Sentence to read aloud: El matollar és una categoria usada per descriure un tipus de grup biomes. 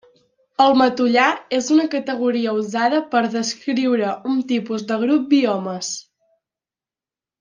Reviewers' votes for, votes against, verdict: 2, 0, accepted